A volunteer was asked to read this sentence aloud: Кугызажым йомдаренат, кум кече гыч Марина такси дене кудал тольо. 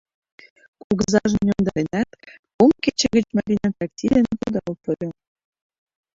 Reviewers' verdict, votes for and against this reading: rejected, 0, 2